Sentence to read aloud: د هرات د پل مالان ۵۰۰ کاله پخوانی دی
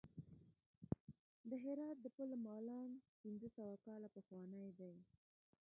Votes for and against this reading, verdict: 0, 2, rejected